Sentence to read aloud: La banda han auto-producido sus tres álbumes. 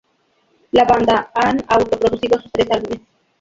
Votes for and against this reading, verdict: 0, 2, rejected